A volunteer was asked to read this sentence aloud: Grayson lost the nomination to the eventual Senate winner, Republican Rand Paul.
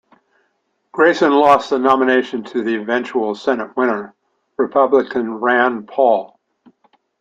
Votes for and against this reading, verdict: 2, 0, accepted